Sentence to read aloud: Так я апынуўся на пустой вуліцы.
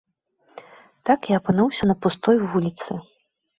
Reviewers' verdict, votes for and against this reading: accepted, 2, 0